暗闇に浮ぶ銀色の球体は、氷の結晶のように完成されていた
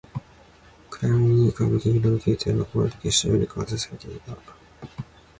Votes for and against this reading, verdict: 1, 2, rejected